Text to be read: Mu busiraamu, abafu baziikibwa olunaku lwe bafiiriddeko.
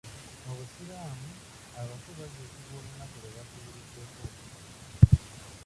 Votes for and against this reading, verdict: 1, 2, rejected